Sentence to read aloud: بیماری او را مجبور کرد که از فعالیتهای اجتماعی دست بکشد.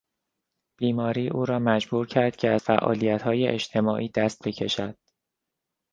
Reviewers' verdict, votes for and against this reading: accepted, 2, 0